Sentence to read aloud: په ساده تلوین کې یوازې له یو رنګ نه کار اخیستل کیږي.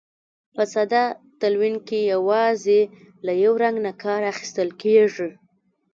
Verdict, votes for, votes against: rejected, 1, 2